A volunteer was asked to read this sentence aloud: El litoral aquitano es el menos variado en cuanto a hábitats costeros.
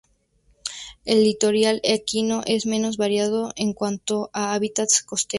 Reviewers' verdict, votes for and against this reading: rejected, 0, 2